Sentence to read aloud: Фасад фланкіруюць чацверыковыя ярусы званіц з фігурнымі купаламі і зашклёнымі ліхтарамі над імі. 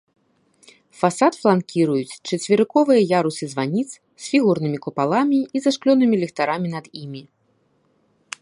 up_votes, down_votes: 2, 0